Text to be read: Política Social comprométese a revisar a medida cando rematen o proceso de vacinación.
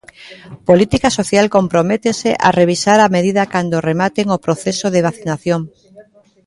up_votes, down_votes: 0, 2